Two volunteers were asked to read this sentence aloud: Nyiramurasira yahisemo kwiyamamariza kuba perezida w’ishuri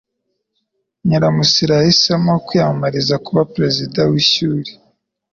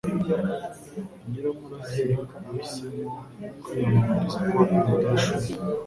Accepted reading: first